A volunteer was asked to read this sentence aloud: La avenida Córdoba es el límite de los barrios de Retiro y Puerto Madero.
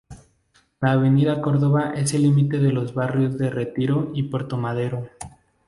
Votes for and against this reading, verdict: 2, 0, accepted